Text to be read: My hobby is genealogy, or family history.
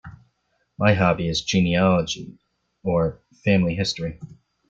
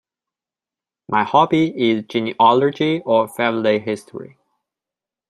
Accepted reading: first